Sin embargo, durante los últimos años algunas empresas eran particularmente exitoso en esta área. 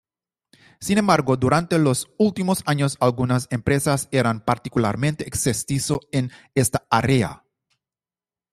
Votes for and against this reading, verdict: 0, 2, rejected